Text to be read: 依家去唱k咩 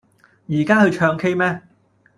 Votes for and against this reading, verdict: 2, 0, accepted